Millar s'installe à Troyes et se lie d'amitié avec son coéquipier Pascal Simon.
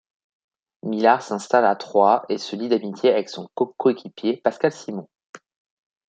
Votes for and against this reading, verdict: 1, 2, rejected